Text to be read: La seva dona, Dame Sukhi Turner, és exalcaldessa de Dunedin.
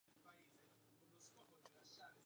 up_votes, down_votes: 0, 3